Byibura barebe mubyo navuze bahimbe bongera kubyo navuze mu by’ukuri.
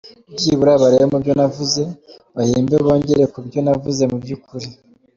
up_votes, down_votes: 2, 0